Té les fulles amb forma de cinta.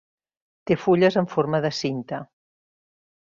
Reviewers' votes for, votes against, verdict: 1, 2, rejected